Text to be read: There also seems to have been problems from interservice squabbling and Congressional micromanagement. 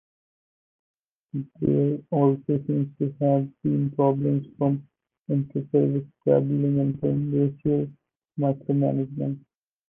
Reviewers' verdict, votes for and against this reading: rejected, 0, 4